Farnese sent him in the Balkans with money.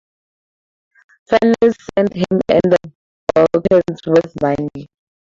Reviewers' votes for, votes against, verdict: 0, 4, rejected